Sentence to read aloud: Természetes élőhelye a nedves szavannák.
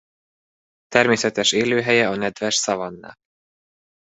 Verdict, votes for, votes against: rejected, 2, 3